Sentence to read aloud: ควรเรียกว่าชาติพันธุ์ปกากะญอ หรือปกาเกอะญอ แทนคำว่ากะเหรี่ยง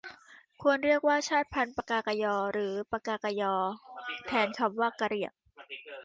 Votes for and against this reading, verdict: 0, 2, rejected